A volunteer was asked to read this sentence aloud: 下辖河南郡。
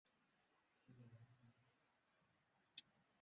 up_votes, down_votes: 0, 2